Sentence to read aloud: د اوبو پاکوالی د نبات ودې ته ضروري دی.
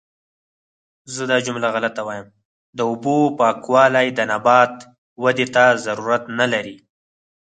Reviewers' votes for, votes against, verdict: 0, 4, rejected